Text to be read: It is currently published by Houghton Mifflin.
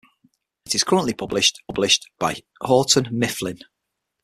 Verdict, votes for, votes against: rejected, 0, 6